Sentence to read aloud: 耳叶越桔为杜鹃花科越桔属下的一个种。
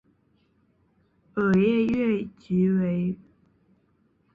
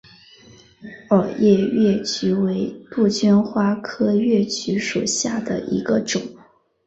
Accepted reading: second